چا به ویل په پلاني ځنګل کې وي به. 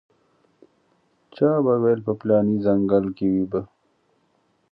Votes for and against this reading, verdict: 2, 0, accepted